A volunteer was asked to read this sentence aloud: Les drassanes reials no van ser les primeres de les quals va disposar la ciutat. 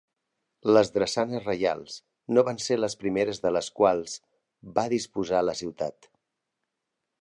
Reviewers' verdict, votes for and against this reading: accepted, 2, 0